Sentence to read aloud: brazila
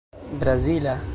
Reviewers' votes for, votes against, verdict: 2, 0, accepted